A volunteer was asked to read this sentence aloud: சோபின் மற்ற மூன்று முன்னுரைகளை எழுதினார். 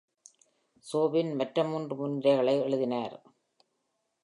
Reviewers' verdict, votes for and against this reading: accepted, 2, 0